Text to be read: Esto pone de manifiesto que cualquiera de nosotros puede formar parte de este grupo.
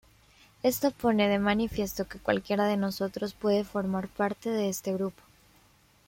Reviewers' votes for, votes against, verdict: 2, 0, accepted